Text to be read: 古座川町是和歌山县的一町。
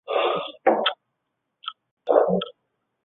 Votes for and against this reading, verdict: 0, 2, rejected